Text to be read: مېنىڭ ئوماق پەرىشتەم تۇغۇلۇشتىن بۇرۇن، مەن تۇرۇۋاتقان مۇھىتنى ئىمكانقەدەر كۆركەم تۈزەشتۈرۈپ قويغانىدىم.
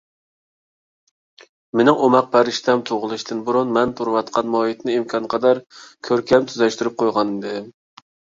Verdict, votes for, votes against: accepted, 2, 0